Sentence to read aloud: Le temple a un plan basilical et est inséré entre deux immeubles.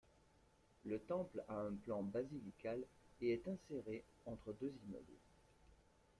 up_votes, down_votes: 1, 2